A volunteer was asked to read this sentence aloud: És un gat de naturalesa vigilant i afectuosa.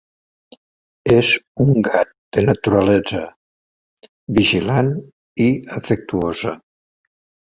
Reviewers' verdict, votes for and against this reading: rejected, 1, 2